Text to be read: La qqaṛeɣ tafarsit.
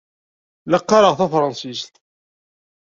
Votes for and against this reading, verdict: 1, 2, rejected